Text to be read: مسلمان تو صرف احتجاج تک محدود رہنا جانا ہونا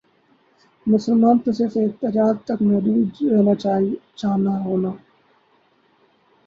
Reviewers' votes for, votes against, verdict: 0, 2, rejected